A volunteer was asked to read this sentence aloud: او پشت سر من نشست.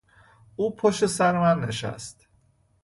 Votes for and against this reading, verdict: 2, 0, accepted